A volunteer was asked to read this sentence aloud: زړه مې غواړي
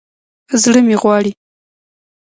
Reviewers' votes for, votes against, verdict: 2, 0, accepted